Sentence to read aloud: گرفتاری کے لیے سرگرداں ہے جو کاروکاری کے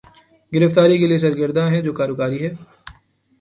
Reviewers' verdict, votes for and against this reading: rejected, 1, 2